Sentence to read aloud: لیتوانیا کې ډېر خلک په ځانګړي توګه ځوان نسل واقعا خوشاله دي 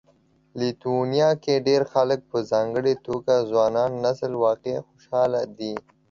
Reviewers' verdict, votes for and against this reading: rejected, 1, 2